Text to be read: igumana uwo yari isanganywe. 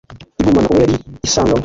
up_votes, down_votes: 1, 2